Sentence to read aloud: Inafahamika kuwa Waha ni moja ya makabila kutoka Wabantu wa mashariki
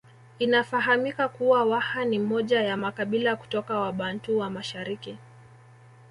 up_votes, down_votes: 2, 0